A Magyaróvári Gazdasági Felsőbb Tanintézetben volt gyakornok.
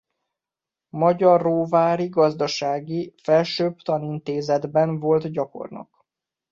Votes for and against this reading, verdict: 1, 2, rejected